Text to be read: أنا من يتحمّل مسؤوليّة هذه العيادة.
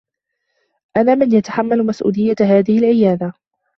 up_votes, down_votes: 2, 1